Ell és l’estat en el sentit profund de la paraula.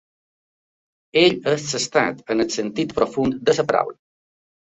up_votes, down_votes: 1, 3